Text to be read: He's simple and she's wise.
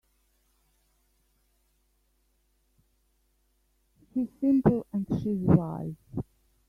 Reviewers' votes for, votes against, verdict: 1, 2, rejected